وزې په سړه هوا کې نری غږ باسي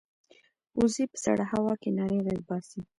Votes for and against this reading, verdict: 1, 2, rejected